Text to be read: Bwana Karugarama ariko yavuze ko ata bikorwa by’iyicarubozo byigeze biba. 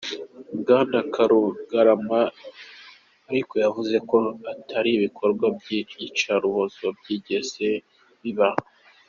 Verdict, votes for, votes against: accepted, 2, 0